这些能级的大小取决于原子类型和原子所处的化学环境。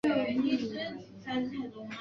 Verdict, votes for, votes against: rejected, 0, 2